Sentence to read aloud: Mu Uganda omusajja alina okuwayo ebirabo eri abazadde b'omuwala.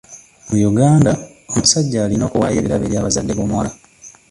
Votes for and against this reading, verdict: 1, 2, rejected